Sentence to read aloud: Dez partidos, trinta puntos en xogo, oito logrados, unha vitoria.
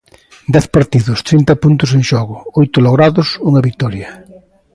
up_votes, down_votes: 2, 0